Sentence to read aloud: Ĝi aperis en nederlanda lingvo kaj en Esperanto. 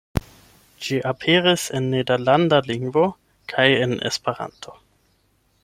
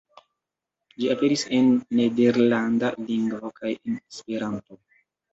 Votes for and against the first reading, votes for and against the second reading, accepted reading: 8, 0, 0, 3, first